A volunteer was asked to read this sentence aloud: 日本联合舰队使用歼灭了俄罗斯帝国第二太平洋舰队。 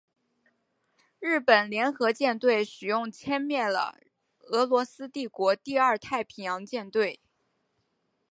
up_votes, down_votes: 2, 0